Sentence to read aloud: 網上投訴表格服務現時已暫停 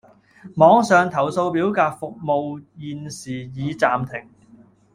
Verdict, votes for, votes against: accepted, 2, 0